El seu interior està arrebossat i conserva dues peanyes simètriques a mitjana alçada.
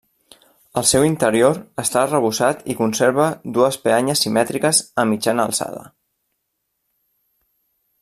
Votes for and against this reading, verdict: 2, 0, accepted